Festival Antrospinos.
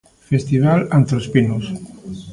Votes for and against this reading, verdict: 2, 0, accepted